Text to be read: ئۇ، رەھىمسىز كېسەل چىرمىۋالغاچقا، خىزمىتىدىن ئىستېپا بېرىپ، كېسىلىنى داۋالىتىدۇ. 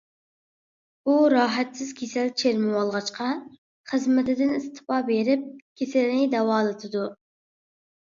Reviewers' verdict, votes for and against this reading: rejected, 0, 2